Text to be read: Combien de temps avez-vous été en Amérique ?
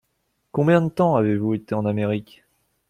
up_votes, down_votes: 2, 0